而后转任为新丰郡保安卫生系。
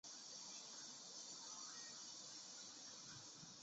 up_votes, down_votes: 3, 2